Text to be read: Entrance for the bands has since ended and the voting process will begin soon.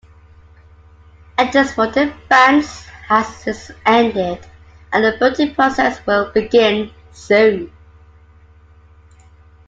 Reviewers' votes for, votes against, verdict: 2, 1, accepted